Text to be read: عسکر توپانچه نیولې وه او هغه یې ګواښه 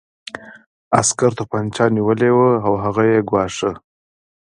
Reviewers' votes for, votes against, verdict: 2, 0, accepted